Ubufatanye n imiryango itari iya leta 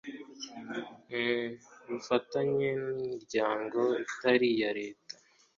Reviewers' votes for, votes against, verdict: 2, 0, accepted